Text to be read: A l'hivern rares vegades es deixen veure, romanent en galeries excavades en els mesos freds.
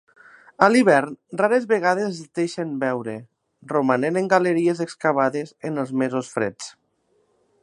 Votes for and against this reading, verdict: 3, 0, accepted